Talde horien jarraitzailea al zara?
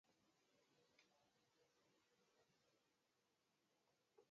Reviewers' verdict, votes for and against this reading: rejected, 0, 4